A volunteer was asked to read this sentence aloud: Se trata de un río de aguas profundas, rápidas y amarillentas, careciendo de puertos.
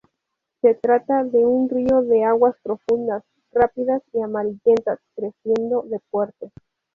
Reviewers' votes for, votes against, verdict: 0, 2, rejected